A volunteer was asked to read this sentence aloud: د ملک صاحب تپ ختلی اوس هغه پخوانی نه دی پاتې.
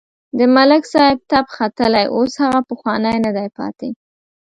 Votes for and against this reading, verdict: 2, 0, accepted